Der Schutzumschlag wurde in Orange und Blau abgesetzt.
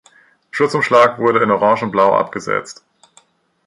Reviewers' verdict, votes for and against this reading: rejected, 0, 2